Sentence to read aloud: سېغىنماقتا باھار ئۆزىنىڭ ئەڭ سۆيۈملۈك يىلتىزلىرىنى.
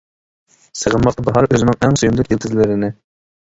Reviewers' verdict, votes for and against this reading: rejected, 1, 2